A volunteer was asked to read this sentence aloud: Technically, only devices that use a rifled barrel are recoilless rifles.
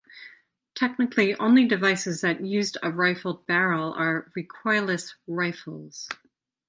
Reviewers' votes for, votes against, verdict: 0, 4, rejected